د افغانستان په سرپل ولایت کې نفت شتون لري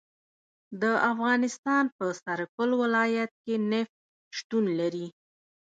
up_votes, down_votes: 1, 2